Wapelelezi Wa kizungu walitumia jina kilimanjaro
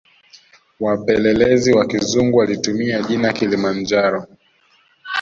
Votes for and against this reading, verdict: 2, 1, accepted